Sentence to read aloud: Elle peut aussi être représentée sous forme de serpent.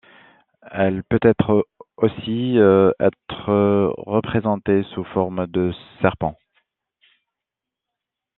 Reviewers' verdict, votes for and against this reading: rejected, 0, 2